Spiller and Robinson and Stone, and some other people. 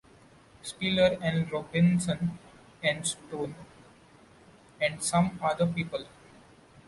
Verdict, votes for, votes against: accepted, 2, 0